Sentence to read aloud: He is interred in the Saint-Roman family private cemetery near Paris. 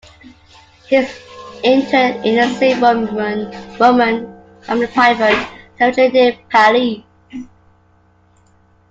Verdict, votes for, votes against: rejected, 0, 2